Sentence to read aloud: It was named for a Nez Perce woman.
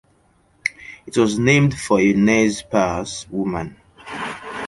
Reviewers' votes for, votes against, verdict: 2, 0, accepted